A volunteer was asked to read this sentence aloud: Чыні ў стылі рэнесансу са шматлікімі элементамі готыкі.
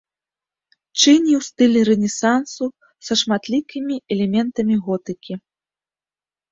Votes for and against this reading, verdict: 2, 0, accepted